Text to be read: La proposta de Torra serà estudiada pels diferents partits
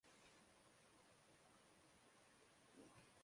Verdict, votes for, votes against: rejected, 0, 2